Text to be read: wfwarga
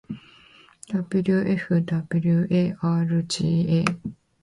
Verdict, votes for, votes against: accepted, 8, 0